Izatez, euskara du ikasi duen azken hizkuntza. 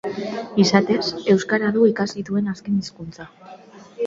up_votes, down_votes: 2, 0